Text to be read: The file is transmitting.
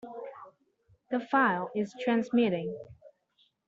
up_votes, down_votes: 2, 1